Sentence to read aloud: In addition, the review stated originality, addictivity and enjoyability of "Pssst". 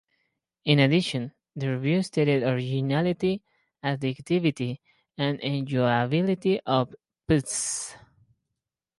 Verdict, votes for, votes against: rejected, 0, 4